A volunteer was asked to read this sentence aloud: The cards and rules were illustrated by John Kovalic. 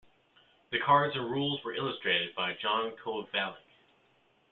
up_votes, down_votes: 2, 0